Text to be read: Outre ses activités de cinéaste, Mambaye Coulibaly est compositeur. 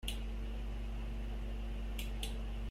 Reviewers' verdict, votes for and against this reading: rejected, 0, 2